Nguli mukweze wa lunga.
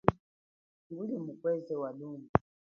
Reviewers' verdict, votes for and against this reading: rejected, 3, 4